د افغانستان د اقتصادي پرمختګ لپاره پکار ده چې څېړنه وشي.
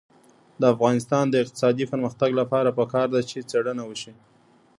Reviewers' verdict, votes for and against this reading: accepted, 2, 0